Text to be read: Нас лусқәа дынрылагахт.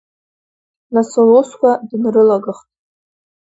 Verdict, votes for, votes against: rejected, 1, 2